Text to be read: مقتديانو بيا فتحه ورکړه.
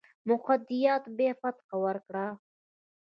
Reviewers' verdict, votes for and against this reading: rejected, 1, 2